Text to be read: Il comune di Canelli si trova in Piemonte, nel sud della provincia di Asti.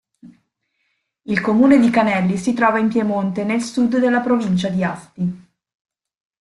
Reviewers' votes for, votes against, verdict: 2, 0, accepted